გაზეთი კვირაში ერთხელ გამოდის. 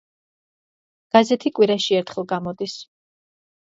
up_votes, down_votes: 2, 0